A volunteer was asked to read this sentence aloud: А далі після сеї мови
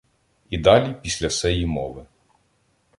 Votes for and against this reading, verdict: 0, 2, rejected